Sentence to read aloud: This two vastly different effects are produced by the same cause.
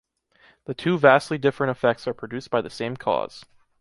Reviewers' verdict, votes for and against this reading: rejected, 1, 2